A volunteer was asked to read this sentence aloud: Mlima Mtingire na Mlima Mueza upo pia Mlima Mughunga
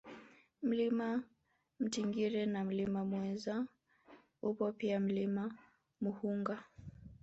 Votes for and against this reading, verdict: 0, 3, rejected